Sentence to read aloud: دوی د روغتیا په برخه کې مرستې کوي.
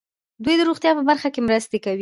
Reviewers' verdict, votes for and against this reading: rejected, 0, 2